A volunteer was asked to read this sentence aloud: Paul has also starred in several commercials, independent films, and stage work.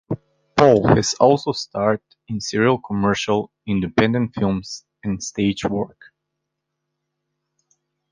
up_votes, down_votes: 0, 2